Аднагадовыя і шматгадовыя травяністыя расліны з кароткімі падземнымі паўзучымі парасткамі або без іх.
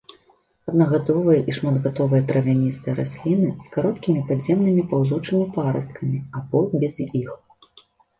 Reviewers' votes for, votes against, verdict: 2, 0, accepted